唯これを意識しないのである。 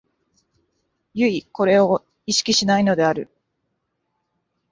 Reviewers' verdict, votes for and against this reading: rejected, 1, 2